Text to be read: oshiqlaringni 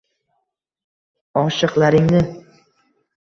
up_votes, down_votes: 1, 2